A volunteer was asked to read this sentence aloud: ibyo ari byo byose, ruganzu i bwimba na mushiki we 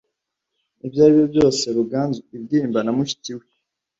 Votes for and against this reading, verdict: 1, 2, rejected